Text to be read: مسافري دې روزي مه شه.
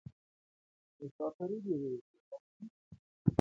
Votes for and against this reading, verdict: 0, 2, rejected